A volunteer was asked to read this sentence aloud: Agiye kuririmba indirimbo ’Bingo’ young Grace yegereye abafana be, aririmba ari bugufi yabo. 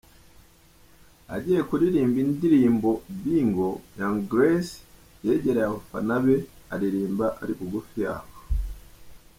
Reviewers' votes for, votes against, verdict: 1, 2, rejected